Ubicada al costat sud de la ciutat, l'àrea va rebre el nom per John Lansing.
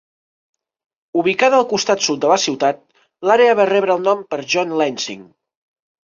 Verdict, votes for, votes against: accepted, 3, 0